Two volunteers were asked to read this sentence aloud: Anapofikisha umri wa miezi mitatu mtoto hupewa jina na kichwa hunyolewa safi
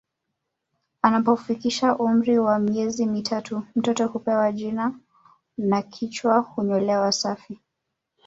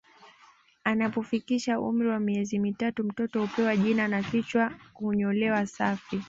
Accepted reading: second